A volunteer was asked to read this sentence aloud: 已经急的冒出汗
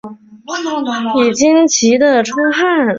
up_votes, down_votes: 0, 2